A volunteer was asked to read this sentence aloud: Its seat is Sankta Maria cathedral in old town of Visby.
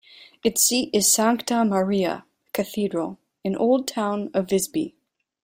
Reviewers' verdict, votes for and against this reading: accepted, 2, 0